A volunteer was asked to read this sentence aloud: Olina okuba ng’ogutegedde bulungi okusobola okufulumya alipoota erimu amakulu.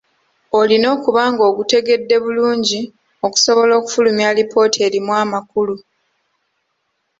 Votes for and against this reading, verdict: 2, 0, accepted